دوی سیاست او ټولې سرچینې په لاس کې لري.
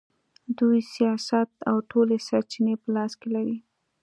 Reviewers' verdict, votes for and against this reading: accepted, 2, 0